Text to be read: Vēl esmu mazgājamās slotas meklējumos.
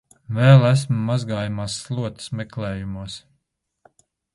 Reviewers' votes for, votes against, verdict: 2, 0, accepted